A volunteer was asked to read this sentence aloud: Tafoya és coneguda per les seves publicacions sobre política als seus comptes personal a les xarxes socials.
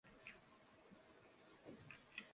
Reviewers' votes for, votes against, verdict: 0, 2, rejected